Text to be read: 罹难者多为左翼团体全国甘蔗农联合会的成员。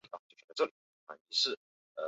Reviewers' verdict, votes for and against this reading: rejected, 0, 4